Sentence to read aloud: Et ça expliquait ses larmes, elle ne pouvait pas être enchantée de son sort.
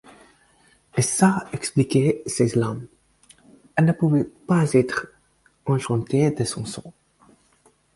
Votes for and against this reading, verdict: 2, 4, rejected